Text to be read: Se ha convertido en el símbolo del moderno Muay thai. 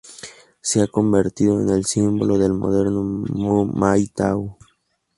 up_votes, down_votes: 0, 2